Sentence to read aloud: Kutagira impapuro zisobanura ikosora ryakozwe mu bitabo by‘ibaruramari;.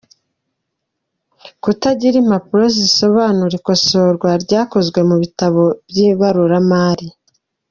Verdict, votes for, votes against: rejected, 0, 2